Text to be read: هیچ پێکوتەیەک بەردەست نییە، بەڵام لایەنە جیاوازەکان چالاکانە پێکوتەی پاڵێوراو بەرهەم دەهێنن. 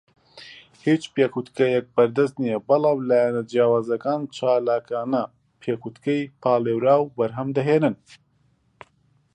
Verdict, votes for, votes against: rejected, 0, 2